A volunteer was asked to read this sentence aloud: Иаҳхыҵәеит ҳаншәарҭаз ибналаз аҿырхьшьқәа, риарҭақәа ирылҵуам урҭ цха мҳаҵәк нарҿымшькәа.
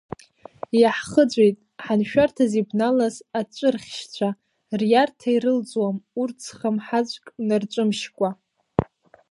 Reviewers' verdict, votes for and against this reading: rejected, 0, 2